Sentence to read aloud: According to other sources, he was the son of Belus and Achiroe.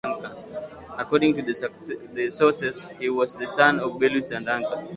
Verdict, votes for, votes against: rejected, 0, 2